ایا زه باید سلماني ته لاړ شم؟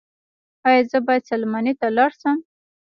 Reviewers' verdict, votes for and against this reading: rejected, 0, 2